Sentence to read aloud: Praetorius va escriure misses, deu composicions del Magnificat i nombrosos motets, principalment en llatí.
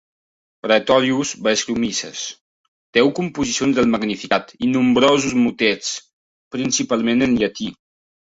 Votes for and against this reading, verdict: 1, 2, rejected